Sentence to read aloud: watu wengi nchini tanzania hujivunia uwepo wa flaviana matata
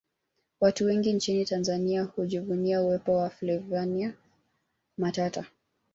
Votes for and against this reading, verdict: 2, 1, accepted